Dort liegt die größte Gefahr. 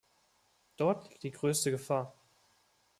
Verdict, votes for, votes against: accepted, 2, 1